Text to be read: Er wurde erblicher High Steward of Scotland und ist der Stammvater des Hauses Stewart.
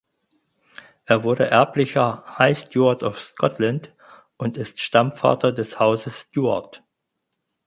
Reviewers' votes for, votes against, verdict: 0, 4, rejected